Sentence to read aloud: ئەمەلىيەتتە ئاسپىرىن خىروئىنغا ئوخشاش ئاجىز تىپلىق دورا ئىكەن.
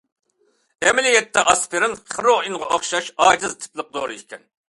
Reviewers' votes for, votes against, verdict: 2, 0, accepted